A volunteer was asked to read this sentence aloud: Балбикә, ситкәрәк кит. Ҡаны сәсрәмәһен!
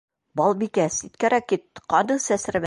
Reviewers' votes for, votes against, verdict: 1, 2, rejected